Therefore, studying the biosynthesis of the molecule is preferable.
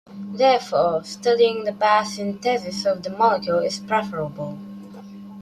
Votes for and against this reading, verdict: 2, 1, accepted